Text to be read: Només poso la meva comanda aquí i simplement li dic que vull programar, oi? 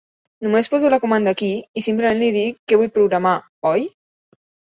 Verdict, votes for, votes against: rejected, 1, 2